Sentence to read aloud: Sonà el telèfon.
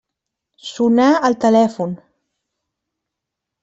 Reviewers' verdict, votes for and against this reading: accepted, 2, 0